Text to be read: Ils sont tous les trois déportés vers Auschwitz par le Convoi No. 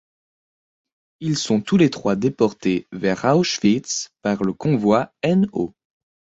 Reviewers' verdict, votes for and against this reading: accepted, 2, 0